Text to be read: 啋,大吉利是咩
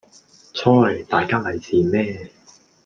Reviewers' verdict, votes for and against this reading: accepted, 2, 0